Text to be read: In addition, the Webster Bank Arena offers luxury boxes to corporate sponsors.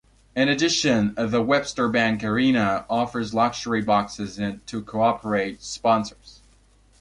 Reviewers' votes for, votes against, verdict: 1, 2, rejected